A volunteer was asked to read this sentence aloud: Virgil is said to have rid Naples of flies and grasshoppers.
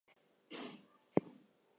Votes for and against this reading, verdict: 0, 2, rejected